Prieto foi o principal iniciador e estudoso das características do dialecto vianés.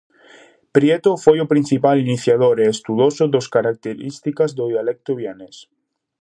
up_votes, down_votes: 0, 2